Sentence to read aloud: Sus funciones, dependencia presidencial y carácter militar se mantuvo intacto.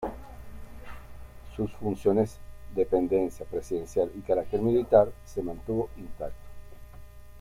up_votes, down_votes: 1, 2